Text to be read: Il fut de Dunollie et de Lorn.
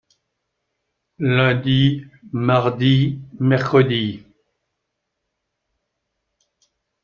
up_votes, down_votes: 0, 2